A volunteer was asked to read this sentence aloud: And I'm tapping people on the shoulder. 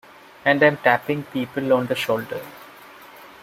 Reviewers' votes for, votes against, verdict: 1, 2, rejected